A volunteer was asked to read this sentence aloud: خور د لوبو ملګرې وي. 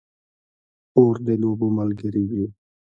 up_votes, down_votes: 1, 2